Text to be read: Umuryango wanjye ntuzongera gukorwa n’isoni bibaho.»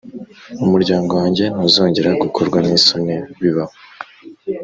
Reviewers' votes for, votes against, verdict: 2, 0, accepted